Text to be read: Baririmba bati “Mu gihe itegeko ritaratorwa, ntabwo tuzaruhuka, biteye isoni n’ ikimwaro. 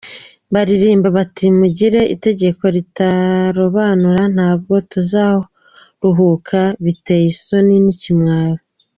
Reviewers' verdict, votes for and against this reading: accepted, 2, 1